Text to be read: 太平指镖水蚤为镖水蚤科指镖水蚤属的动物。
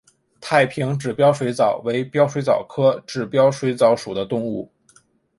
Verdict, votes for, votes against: accepted, 2, 0